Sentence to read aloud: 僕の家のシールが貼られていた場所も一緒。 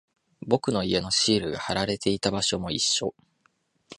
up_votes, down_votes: 0, 2